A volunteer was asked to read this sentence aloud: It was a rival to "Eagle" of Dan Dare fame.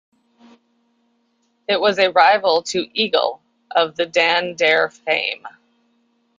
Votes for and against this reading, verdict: 1, 2, rejected